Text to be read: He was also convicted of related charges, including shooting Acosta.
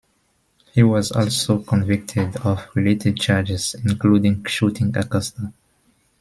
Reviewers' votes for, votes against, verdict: 2, 0, accepted